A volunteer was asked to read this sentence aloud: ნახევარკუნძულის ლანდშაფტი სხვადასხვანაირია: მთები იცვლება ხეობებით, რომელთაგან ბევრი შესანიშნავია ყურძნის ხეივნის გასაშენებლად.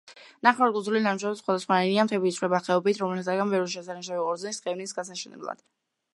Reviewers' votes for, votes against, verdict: 1, 3, rejected